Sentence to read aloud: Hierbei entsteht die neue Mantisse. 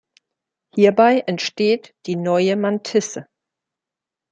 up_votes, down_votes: 2, 0